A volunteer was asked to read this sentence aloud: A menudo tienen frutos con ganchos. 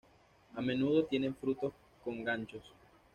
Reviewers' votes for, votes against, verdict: 2, 0, accepted